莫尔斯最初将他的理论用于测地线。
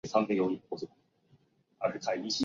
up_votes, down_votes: 0, 2